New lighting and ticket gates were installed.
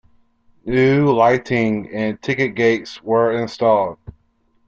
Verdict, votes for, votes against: accepted, 3, 0